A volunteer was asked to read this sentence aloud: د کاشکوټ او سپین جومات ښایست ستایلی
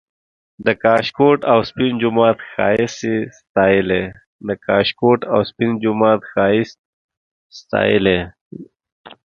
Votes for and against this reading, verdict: 1, 2, rejected